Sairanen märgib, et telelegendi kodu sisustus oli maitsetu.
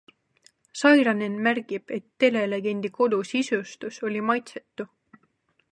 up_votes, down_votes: 2, 0